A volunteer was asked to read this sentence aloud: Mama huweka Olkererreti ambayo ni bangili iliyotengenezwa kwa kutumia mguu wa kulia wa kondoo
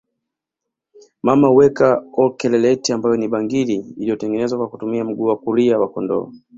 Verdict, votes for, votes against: rejected, 0, 2